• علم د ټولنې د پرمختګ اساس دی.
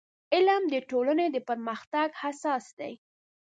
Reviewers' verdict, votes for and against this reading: accepted, 2, 0